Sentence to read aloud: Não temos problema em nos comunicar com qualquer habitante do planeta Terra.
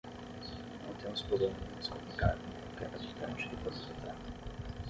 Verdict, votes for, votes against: accepted, 3, 0